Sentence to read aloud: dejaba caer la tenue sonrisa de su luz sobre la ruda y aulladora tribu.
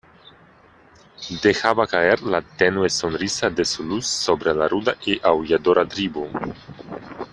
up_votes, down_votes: 2, 0